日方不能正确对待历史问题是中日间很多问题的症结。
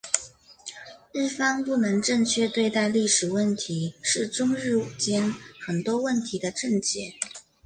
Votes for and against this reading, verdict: 2, 1, accepted